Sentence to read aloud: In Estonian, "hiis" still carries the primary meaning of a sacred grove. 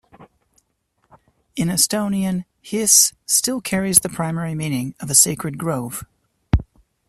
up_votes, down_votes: 2, 0